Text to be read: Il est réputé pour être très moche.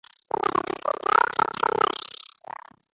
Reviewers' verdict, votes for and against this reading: rejected, 0, 2